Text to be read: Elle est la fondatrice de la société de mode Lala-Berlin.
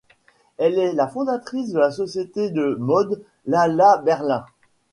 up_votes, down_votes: 2, 0